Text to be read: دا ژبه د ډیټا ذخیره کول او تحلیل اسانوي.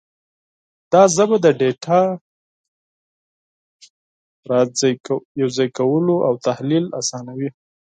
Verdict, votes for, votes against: rejected, 2, 4